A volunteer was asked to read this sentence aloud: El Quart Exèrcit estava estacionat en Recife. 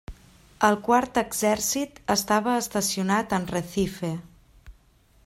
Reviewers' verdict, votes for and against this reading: accepted, 3, 0